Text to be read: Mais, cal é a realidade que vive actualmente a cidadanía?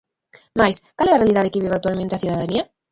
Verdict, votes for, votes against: rejected, 0, 2